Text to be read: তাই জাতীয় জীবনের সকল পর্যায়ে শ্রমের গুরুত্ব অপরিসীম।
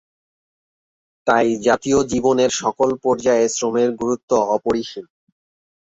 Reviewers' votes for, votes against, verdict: 4, 0, accepted